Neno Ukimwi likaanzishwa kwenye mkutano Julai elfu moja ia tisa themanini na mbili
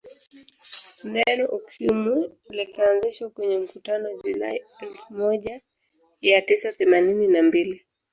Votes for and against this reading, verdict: 2, 0, accepted